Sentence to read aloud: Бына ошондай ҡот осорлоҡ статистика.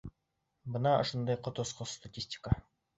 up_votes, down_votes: 1, 2